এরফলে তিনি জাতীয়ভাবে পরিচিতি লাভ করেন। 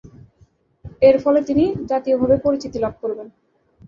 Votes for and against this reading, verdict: 1, 2, rejected